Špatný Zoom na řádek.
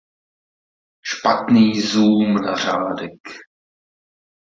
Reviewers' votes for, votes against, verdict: 2, 0, accepted